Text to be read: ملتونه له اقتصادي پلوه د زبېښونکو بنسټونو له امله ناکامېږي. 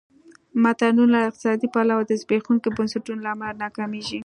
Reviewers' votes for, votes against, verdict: 2, 3, rejected